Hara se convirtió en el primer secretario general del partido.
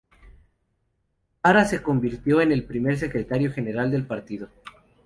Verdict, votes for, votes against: accepted, 2, 0